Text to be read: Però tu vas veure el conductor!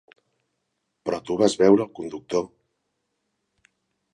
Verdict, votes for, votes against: accepted, 2, 0